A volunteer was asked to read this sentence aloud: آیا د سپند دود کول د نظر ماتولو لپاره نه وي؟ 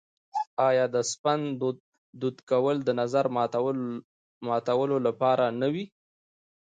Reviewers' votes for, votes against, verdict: 1, 2, rejected